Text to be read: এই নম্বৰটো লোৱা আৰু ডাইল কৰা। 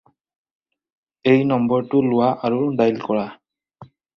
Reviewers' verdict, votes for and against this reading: accepted, 4, 0